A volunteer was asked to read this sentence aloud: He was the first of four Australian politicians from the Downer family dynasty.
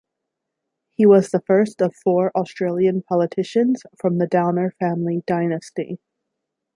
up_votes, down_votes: 2, 0